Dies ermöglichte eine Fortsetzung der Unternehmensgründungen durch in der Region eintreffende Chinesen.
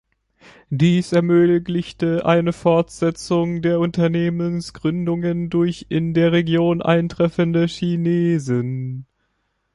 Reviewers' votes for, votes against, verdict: 2, 0, accepted